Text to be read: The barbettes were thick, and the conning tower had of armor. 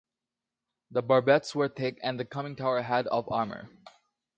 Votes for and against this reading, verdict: 2, 1, accepted